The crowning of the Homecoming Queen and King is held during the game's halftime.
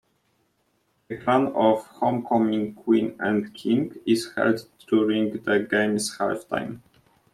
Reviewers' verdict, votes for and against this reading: rejected, 0, 2